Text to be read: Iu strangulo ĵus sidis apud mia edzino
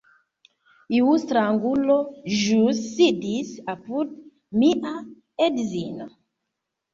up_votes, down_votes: 2, 0